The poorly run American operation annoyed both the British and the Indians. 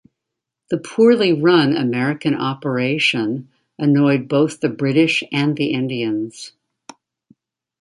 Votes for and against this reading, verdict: 2, 0, accepted